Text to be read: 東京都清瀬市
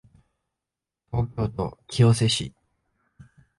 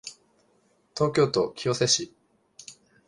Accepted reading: second